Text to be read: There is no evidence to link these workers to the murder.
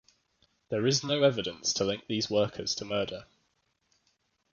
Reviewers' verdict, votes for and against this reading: accepted, 3, 0